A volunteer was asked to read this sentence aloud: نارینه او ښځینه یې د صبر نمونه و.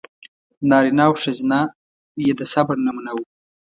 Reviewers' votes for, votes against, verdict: 2, 0, accepted